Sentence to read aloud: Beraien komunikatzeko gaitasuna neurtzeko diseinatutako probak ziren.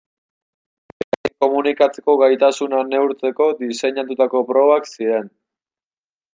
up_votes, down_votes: 0, 2